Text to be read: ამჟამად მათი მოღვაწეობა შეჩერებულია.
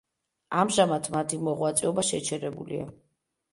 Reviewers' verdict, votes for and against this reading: accepted, 2, 0